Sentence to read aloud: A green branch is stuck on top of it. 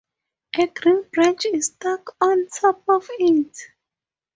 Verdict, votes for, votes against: accepted, 4, 0